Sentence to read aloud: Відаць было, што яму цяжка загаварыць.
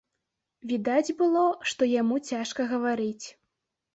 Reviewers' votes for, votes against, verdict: 0, 2, rejected